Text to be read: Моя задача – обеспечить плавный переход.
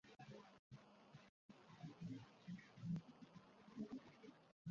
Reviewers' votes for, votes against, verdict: 0, 2, rejected